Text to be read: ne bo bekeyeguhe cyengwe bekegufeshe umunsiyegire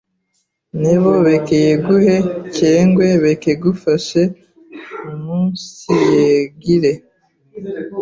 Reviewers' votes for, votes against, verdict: 0, 2, rejected